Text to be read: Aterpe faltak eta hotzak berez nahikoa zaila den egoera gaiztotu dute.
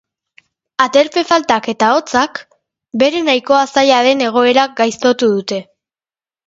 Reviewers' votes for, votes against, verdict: 1, 2, rejected